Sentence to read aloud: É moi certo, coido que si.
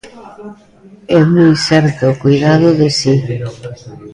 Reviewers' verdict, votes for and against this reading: rejected, 0, 2